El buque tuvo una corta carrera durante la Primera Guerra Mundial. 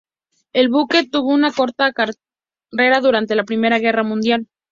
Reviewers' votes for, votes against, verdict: 0, 2, rejected